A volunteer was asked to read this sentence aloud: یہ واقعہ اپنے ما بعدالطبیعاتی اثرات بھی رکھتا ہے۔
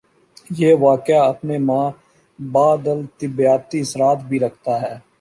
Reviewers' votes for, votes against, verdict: 1, 2, rejected